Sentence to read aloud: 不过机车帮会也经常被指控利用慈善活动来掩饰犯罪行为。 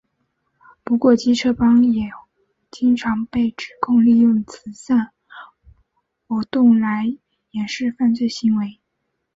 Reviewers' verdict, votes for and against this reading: accepted, 2, 1